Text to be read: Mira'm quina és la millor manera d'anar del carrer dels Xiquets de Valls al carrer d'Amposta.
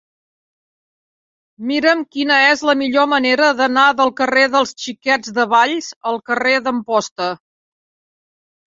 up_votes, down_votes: 3, 0